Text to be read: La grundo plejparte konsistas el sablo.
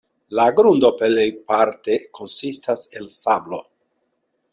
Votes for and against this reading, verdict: 2, 0, accepted